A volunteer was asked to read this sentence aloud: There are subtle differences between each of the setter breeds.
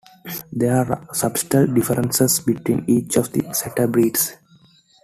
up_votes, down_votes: 0, 2